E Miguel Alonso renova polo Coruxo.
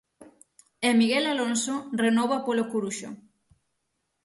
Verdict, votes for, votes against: accepted, 6, 0